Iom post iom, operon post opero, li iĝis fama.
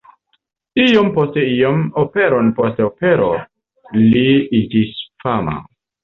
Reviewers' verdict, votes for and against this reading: accepted, 2, 0